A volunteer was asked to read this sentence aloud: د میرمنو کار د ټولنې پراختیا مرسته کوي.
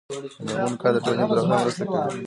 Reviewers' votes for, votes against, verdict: 2, 3, rejected